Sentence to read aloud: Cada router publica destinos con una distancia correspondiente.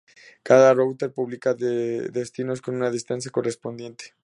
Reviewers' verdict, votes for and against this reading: rejected, 0, 2